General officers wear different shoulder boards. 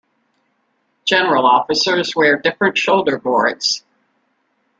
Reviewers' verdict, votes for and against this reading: accepted, 2, 0